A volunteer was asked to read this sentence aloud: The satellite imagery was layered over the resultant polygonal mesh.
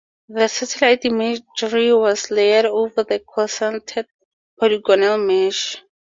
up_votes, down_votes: 0, 2